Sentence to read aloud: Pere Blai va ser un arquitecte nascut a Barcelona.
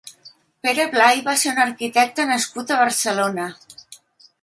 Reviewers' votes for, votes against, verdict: 3, 0, accepted